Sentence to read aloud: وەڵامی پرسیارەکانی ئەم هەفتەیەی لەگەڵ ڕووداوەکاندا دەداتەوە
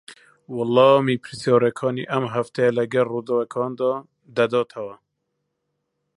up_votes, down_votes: 0, 2